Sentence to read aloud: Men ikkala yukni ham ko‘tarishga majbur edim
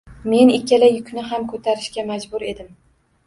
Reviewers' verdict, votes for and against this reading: accepted, 2, 0